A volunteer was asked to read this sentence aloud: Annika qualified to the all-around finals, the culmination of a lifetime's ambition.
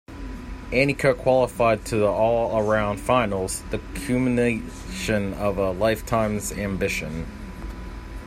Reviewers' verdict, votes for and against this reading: rejected, 0, 2